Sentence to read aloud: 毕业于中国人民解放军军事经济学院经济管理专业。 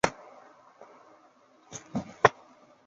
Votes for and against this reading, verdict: 1, 2, rejected